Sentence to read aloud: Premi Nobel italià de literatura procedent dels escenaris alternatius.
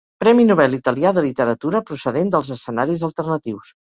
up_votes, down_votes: 4, 0